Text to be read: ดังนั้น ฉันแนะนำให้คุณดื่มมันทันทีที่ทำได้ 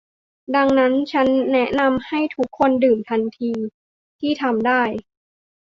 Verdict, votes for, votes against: rejected, 0, 2